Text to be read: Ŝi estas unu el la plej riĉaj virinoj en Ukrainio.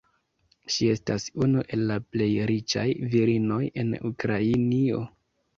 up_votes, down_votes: 2, 0